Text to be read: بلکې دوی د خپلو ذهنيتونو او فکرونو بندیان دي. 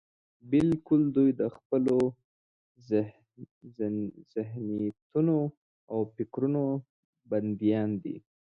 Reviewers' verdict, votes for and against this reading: rejected, 0, 2